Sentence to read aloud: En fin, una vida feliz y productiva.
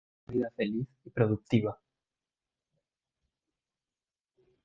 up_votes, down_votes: 1, 2